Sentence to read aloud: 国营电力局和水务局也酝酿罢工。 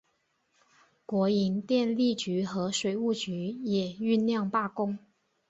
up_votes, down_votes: 3, 0